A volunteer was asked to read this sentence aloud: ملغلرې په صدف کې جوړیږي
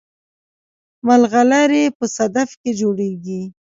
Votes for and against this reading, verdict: 2, 0, accepted